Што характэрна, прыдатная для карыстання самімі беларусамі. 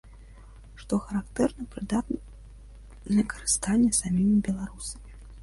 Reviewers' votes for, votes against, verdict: 1, 2, rejected